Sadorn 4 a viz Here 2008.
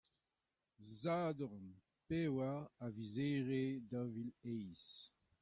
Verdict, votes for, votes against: rejected, 0, 2